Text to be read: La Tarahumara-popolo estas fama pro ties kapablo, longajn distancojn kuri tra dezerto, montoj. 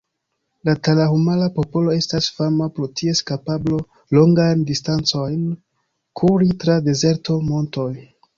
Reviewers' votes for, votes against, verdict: 3, 0, accepted